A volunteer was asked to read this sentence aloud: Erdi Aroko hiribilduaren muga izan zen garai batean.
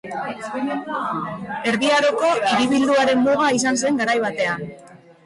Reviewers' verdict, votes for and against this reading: rejected, 0, 2